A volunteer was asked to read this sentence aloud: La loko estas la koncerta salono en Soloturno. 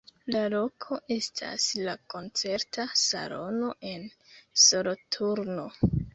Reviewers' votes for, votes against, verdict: 2, 1, accepted